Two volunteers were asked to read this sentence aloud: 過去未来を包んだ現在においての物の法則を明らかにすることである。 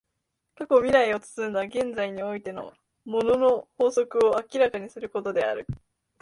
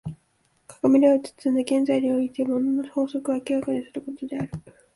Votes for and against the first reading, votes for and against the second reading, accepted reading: 2, 0, 3, 4, first